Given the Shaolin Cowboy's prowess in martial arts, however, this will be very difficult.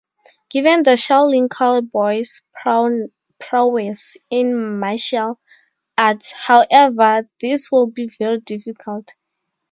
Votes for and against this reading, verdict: 2, 4, rejected